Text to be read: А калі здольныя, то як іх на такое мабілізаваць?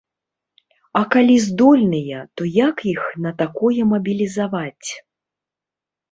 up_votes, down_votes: 2, 0